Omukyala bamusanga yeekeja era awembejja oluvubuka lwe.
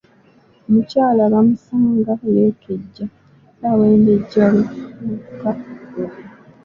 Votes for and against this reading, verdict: 0, 2, rejected